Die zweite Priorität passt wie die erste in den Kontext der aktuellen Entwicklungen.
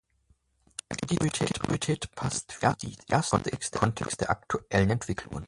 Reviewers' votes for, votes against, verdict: 0, 2, rejected